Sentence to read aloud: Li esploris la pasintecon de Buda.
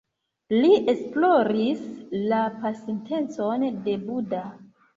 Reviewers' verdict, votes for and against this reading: accepted, 2, 0